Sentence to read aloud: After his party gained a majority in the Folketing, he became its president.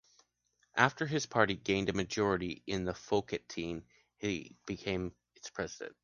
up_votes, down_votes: 3, 1